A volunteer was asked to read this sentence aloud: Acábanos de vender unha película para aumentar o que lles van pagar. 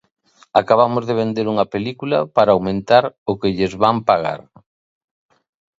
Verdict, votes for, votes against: rejected, 1, 2